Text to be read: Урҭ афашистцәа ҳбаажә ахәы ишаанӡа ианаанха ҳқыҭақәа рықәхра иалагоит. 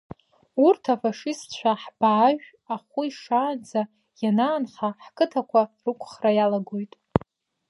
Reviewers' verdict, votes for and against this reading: accepted, 3, 2